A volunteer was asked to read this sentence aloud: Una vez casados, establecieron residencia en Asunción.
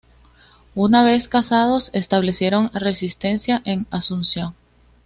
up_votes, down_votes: 1, 2